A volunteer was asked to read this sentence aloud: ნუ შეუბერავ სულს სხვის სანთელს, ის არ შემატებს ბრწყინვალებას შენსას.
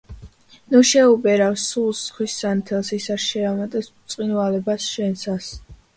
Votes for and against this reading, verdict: 1, 2, rejected